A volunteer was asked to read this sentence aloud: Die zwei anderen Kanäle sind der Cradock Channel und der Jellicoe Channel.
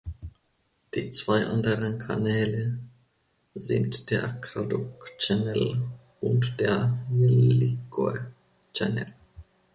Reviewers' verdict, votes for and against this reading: rejected, 1, 2